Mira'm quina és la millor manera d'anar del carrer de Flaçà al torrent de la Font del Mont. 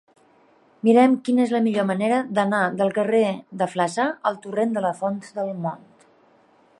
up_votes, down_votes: 1, 3